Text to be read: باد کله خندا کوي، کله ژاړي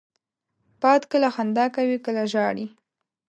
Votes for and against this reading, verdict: 2, 0, accepted